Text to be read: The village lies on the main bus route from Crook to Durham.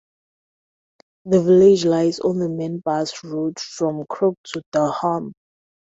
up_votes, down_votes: 2, 2